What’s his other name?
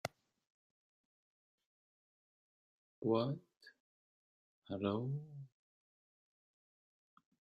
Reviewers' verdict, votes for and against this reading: rejected, 0, 2